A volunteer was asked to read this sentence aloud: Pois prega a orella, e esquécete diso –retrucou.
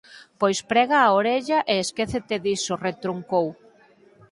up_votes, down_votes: 4, 2